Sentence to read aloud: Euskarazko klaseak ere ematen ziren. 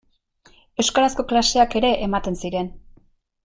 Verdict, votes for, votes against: accepted, 2, 0